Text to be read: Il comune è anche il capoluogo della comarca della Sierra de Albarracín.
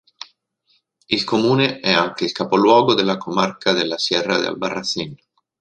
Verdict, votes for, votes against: accepted, 3, 0